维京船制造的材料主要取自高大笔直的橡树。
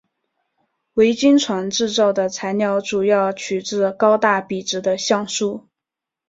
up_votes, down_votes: 2, 0